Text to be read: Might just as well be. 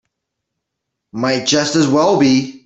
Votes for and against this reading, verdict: 3, 0, accepted